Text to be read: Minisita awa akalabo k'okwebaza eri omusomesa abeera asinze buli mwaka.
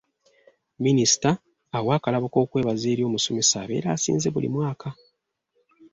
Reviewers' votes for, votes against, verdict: 2, 0, accepted